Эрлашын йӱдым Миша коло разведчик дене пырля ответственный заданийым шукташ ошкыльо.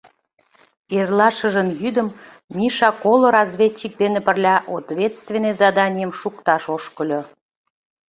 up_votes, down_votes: 0, 2